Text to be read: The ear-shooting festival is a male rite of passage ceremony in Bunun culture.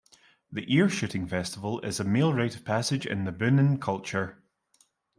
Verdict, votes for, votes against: rejected, 0, 2